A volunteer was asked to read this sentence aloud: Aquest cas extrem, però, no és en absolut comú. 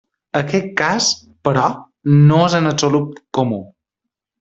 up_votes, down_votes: 0, 2